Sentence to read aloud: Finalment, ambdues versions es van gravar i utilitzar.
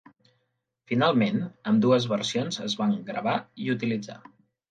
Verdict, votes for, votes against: accepted, 3, 0